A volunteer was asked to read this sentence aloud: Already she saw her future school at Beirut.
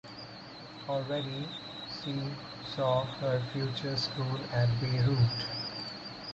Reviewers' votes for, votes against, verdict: 2, 4, rejected